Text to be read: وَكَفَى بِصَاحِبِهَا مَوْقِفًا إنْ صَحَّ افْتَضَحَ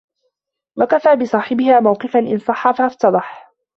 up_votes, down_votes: 0, 2